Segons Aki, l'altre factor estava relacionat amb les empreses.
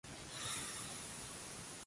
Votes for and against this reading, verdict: 0, 3, rejected